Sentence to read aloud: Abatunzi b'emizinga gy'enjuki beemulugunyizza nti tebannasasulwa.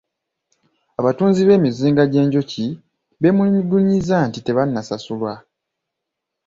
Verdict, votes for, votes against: accepted, 2, 1